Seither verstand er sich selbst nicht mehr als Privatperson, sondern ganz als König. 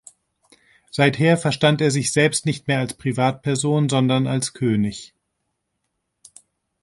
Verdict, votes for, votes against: rejected, 0, 2